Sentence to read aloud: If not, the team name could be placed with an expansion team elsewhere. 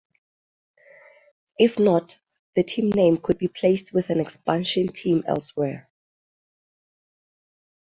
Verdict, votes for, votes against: rejected, 3, 3